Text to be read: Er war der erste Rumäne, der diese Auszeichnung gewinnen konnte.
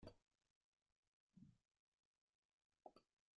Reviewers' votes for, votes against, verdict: 0, 2, rejected